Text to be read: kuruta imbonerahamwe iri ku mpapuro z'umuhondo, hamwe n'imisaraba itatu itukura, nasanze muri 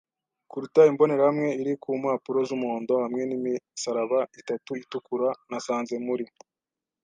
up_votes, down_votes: 2, 0